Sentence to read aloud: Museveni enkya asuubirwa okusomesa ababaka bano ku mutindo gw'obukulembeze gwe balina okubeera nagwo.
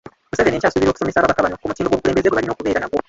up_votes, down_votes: 0, 2